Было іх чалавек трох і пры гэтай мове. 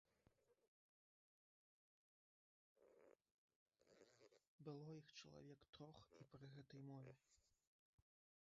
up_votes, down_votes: 0, 3